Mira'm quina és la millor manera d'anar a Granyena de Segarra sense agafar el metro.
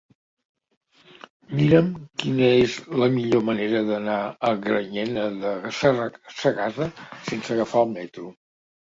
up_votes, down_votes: 1, 2